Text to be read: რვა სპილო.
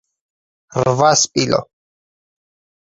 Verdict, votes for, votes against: accepted, 4, 0